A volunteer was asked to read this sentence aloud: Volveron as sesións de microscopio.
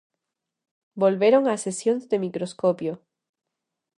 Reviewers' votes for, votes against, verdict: 2, 0, accepted